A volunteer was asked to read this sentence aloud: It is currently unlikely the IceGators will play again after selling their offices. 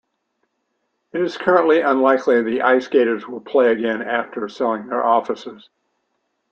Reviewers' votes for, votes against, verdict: 2, 0, accepted